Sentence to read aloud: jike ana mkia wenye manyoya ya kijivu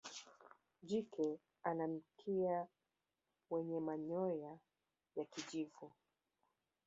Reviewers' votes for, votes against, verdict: 1, 2, rejected